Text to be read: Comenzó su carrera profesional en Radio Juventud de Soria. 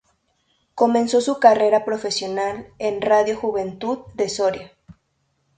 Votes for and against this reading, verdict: 2, 0, accepted